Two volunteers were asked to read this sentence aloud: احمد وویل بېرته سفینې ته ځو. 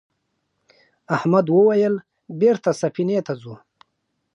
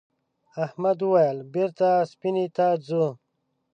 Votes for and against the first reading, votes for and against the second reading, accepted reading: 5, 0, 1, 2, first